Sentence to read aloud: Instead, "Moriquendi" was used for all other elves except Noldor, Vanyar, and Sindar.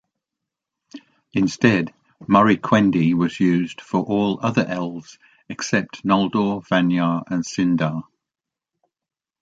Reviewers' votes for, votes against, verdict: 2, 1, accepted